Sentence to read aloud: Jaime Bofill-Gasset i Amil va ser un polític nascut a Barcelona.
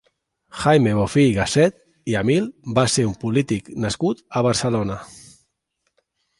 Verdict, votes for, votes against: accepted, 2, 0